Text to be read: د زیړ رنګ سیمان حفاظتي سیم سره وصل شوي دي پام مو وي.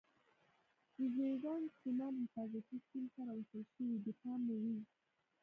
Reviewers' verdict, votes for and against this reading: rejected, 1, 2